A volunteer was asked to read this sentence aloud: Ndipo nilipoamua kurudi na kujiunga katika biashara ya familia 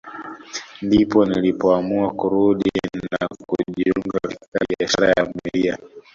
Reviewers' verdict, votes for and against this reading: rejected, 1, 2